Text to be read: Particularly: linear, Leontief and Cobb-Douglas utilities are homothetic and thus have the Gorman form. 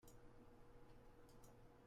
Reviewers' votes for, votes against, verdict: 0, 2, rejected